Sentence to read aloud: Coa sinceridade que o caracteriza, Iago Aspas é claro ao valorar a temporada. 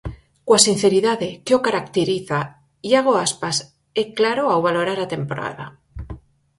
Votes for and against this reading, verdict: 4, 0, accepted